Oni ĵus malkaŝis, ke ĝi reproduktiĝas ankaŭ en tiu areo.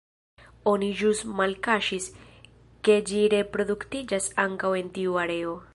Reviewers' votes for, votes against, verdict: 2, 0, accepted